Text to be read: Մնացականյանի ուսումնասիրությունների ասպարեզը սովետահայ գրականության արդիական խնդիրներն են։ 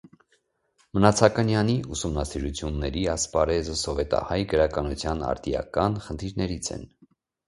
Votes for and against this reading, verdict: 0, 2, rejected